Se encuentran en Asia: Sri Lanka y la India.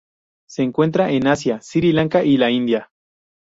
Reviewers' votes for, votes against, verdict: 0, 2, rejected